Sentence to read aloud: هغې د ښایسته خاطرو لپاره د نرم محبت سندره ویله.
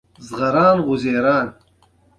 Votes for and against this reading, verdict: 0, 2, rejected